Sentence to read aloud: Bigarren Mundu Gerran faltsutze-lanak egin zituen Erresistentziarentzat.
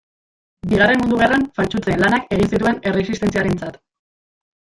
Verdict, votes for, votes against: rejected, 0, 2